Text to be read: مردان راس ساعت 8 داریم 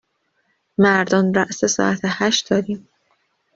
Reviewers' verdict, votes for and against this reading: rejected, 0, 2